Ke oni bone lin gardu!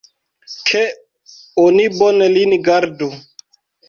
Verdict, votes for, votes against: accepted, 3, 1